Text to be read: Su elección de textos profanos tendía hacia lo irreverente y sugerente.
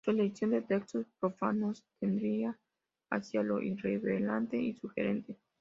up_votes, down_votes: 0, 2